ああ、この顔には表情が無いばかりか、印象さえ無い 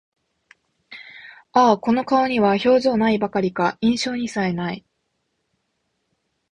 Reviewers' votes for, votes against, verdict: 0, 2, rejected